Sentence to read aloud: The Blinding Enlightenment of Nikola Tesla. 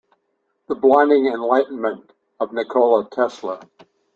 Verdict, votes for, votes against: accepted, 2, 0